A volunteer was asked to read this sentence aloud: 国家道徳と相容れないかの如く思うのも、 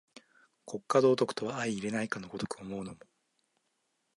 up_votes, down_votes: 2, 0